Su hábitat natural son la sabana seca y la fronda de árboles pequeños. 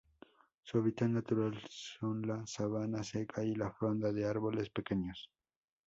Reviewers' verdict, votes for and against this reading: rejected, 0, 2